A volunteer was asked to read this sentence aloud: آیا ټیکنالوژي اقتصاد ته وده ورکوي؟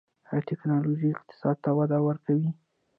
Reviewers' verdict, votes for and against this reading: rejected, 1, 2